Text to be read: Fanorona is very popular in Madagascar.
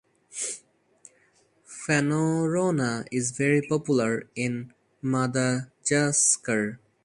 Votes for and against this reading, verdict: 0, 4, rejected